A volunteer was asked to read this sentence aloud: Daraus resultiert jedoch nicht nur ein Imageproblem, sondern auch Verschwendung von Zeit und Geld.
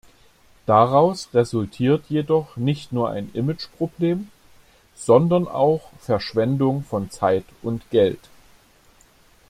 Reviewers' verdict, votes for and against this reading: accepted, 2, 0